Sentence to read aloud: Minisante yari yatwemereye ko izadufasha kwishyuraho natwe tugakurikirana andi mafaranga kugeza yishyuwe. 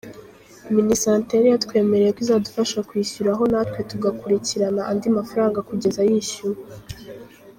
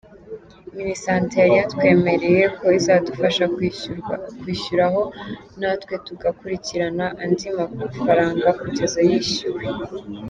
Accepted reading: first